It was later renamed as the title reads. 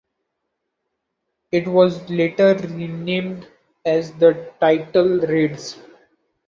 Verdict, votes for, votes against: accepted, 2, 0